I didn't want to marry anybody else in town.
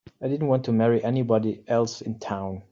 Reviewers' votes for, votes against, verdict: 3, 0, accepted